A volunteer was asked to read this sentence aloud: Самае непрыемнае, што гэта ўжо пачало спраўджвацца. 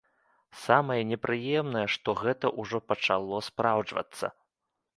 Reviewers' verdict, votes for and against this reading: accepted, 2, 0